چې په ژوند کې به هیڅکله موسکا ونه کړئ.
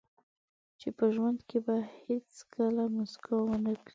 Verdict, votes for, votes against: accepted, 4, 2